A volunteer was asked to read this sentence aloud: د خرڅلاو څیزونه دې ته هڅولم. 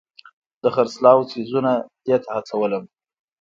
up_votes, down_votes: 2, 0